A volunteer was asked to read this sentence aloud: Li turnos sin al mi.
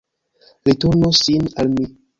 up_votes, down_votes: 2, 0